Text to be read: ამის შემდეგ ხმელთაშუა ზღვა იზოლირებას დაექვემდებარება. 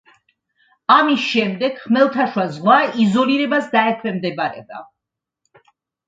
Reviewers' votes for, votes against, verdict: 2, 0, accepted